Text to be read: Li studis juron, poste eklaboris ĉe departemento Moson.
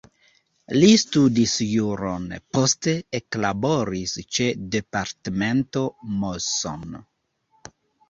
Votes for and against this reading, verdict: 2, 0, accepted